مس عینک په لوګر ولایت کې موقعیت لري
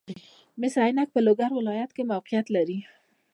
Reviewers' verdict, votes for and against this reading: rejected, 0, 2